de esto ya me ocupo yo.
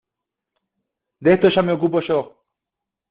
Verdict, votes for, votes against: accepted, 2, 0